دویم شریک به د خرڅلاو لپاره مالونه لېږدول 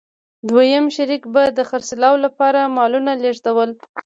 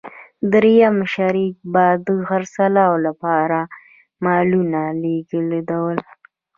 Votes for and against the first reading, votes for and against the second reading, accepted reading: 2, 0, 1, 2, first